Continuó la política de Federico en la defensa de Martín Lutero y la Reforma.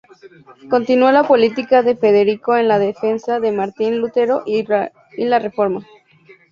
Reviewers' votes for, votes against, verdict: 2, 0, accepted